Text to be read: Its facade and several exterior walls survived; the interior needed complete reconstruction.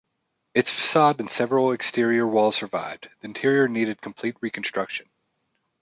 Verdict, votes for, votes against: rejected, 1, 2